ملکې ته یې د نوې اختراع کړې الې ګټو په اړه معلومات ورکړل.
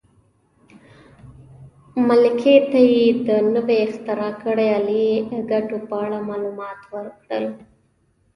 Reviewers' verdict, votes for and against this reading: rejected, 1, 2